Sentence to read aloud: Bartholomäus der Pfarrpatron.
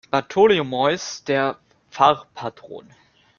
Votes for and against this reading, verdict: 1, 2, rejected